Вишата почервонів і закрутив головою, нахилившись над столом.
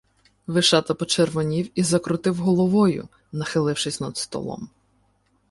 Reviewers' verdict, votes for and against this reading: accepted, 2, 0